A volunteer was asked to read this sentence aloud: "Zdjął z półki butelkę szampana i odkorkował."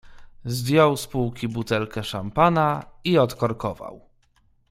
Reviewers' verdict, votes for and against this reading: accepted, 2, 0